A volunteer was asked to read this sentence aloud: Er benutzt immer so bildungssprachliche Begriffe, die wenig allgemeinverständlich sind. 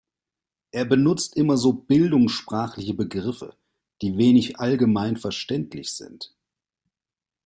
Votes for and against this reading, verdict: 2, 0, accepted